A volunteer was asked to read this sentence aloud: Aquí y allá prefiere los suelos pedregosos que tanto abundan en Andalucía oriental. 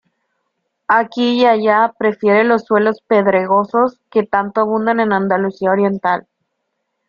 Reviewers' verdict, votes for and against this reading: accepted, 2, 0